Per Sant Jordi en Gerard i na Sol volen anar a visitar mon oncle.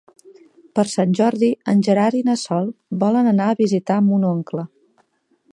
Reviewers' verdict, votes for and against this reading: accepted, 3, 0